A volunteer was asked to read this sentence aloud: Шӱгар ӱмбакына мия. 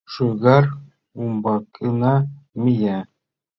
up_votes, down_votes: 1, 2